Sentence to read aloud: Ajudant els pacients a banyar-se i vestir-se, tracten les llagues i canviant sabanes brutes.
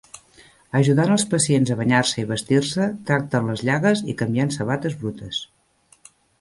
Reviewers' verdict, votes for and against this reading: rejected, 2, 3